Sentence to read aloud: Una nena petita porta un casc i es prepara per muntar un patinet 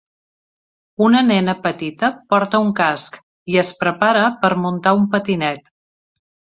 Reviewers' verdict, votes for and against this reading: accepted, 3, 0